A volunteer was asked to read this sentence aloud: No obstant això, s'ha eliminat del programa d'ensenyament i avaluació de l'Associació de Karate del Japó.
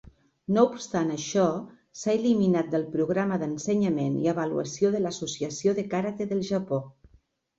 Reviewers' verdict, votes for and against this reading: accepted, 2, 0